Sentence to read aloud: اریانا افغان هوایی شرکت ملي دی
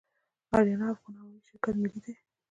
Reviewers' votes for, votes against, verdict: 1, 2, rejected